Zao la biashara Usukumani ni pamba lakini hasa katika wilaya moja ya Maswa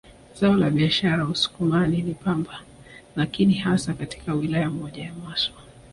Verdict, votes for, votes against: rejected, 1, 2